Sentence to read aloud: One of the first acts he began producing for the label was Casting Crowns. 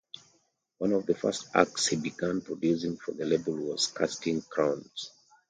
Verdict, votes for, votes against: accepted, 2, 1